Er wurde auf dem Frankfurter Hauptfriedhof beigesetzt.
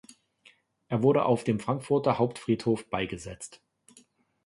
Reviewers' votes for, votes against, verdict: 2, 0, accepted